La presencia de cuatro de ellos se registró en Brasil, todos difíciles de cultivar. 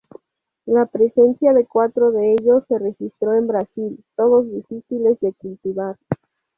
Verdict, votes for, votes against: rejected, 0, 2